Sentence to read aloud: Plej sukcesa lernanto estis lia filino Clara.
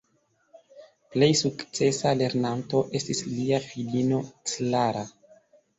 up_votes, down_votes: 2, 1